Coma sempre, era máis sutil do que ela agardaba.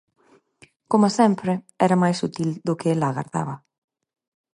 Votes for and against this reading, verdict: 4, 0, accepted